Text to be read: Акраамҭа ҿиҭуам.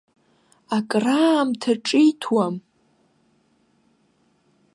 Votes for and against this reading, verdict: 2, 0, accepted